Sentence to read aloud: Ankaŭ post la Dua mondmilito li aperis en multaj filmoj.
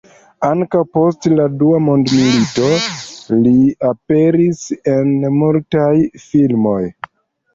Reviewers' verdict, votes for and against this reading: rejected, 1, 2